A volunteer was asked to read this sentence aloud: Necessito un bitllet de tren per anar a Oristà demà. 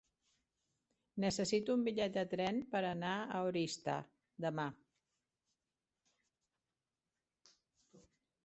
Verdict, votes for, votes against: rejected, 1, 2